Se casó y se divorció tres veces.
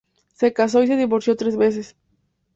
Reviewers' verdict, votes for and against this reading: accepted, 2, 0